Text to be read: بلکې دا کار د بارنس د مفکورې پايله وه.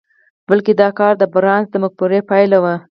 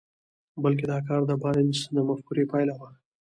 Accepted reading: second